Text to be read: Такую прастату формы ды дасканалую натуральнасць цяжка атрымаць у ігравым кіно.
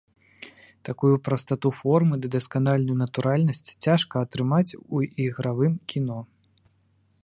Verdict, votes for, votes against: rejected, 1, 2